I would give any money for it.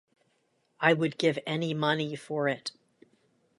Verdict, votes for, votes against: rejected, 1, 2